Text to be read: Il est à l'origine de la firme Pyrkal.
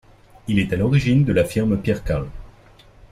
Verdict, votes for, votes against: accepted, 2, 0